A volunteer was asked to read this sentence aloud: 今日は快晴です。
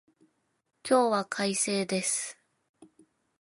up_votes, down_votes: 2, 0